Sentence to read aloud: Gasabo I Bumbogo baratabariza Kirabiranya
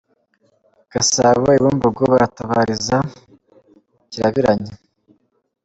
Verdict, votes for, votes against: accepted, 2, 0